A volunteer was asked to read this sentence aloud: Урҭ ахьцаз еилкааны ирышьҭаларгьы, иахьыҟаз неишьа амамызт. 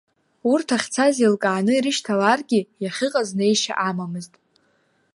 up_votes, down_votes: 2, 0